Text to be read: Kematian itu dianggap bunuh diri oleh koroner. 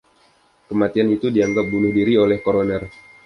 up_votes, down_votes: 2, 0